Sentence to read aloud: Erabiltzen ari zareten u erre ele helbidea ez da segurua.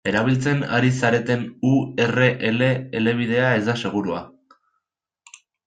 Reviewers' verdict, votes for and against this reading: rejected, 0, 2